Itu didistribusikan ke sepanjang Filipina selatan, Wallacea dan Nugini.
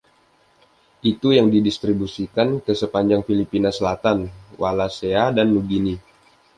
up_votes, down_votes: 2, 0